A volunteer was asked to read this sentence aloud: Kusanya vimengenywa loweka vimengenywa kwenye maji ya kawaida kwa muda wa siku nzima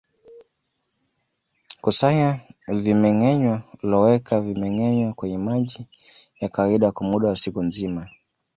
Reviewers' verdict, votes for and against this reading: accepted, 2, 1